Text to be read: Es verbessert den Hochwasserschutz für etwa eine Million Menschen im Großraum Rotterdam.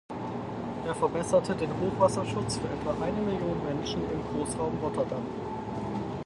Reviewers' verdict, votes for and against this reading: rejected, 0, 4